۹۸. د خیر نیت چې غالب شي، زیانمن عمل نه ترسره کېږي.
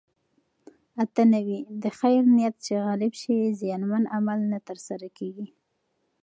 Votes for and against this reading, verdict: 0, 2, rejected